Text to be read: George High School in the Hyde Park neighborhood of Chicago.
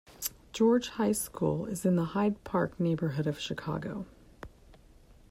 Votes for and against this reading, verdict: 0, 2, rejected